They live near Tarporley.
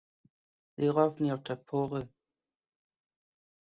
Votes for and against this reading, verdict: 2, 1, accepted